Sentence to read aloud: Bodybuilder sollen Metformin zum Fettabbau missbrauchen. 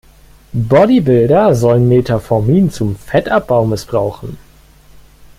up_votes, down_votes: 1, 2